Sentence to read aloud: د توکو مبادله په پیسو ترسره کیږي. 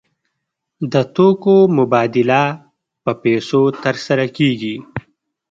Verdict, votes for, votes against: accepted, 2, 0